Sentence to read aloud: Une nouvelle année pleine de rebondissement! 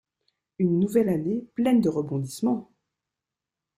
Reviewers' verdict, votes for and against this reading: accepted, 2, 0